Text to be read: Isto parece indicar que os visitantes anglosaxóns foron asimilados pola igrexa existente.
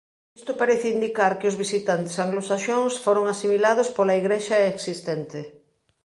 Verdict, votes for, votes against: accepted, 2, 0